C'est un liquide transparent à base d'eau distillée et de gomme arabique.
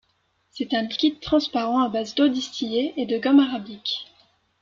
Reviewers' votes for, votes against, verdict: 2, 1, accepted